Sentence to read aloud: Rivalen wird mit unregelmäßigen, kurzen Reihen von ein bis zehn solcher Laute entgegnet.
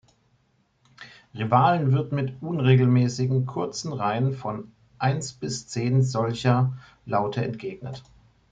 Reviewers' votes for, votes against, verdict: 1, 2, rejected